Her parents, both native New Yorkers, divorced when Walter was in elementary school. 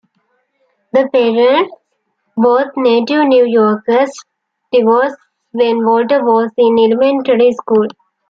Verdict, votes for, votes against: accepted, 2, 0